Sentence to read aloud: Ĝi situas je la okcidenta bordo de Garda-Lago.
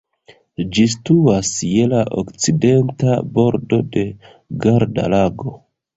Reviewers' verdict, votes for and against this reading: rejected, 1, 2